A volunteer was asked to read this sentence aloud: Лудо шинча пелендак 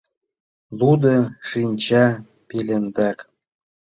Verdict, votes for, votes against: accepted, 2, 0